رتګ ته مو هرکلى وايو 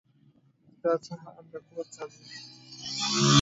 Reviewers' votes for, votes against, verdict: 0, 2, rejected